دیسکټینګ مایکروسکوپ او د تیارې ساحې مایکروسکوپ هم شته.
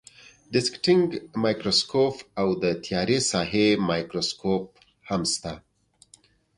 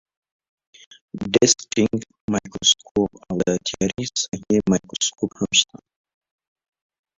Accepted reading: first